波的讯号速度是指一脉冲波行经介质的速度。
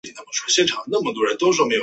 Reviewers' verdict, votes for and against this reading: rejected, 0, 2